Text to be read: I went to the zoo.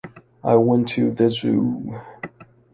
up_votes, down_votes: 2, 0